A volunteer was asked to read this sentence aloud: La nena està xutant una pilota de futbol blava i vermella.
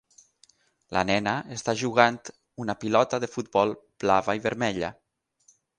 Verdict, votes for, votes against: rejected, 3, 6